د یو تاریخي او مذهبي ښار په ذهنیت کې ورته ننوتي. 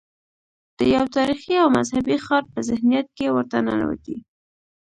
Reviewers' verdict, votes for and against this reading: accepted, 2, 0